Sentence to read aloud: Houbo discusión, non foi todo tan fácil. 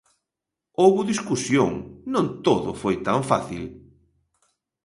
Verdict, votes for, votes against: rejected, 0, 2